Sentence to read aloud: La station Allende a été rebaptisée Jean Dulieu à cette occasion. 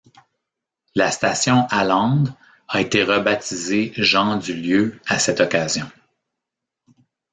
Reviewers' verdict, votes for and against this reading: rejected, 1, 2